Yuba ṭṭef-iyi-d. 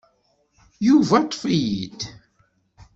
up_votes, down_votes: 2, 0